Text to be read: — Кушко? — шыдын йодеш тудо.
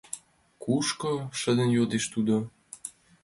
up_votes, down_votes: 2, 0